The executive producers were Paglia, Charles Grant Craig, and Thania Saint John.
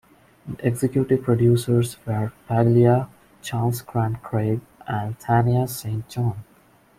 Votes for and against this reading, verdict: 2, 0, accepted